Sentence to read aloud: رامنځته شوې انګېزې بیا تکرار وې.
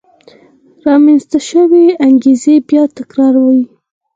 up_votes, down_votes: 2, 4